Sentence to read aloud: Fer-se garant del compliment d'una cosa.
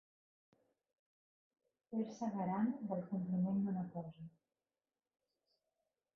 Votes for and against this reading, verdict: 0, 2, rejected